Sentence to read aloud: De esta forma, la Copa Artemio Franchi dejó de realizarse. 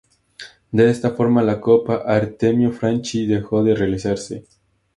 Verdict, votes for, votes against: accepted, 2, 0